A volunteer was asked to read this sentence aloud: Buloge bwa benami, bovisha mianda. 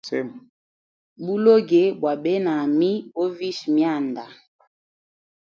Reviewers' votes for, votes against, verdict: 3, 2, accepted